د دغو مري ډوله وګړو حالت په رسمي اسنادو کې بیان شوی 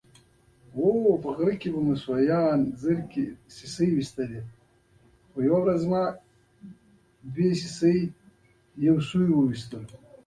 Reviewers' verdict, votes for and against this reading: rejected, 0, 2